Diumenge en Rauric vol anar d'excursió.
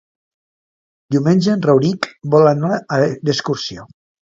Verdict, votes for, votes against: rejected, 1, 2